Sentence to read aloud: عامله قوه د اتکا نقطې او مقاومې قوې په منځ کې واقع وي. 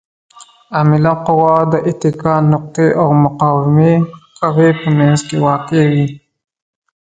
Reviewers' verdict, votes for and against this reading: rejected, 1, 2